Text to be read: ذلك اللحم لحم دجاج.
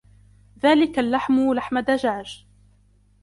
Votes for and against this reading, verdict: 2, 0, accepted